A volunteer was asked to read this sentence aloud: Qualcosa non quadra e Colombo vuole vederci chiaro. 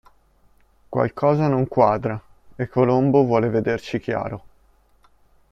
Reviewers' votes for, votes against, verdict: 2, 0, accepted